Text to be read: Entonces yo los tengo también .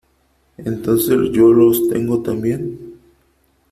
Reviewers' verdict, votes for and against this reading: accepted, 2, 1